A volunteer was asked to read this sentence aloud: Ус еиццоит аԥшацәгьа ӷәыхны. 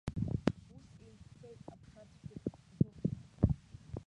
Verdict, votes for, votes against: rejected, 0, 2